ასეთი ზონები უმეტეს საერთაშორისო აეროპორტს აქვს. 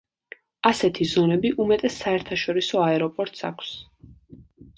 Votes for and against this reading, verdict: 2, 0, accepted